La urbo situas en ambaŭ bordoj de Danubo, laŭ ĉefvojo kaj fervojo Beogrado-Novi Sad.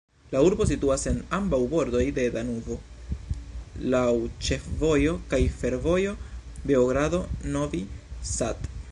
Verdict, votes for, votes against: rejected, 1, 2